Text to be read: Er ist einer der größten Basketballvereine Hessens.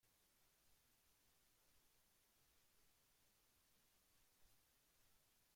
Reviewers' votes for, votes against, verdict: 0, 2, rejected